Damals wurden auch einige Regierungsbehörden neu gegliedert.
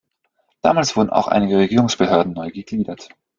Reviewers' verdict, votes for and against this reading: rejected, 1, 2